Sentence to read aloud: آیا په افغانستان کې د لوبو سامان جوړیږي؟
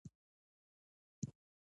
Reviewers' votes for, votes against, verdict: 1, 2, rejected